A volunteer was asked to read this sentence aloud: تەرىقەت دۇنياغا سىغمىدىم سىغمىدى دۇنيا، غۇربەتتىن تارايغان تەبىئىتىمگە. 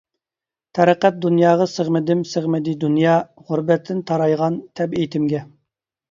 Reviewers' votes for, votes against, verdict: 2, 0, accepted